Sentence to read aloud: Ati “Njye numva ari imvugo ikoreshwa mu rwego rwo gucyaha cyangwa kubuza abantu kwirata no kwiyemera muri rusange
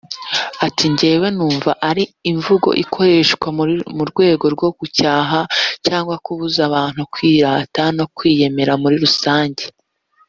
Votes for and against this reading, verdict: 1, 2, rejected